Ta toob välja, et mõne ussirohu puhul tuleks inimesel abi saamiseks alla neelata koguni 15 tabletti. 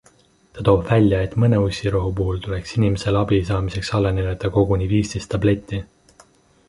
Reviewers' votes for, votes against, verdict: 0, 2, rejected